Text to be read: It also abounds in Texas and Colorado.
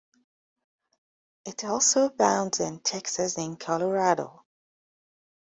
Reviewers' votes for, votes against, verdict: 2, 0, accepted